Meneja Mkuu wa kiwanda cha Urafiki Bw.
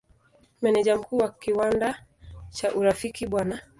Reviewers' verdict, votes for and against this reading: rejected, 1, 2